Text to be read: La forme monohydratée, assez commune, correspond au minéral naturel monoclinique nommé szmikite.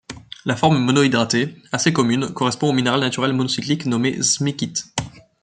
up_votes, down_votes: 0, 2